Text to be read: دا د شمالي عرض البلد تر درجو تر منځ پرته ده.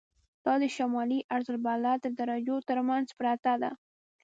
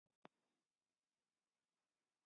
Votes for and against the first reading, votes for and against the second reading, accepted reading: 2, 0, 0, 2, first